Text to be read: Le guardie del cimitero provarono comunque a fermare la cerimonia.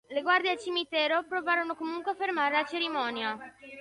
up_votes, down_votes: 1, 2